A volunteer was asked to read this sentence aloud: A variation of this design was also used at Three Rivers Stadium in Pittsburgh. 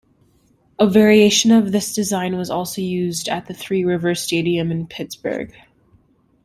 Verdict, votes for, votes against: rejected, 1, 2